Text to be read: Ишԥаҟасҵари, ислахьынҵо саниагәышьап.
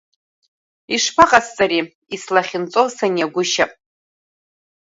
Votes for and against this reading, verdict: 2, 0, accepted